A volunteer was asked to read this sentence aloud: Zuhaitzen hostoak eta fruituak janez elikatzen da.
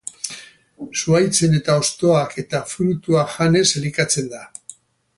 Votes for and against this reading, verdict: 2, 4, rejected